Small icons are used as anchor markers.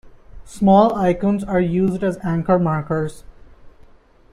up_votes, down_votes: 2, 0